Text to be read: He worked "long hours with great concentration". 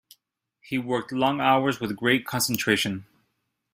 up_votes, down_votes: 2, 0